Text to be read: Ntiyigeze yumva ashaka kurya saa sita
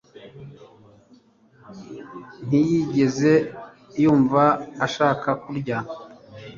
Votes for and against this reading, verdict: 0, 2, rejected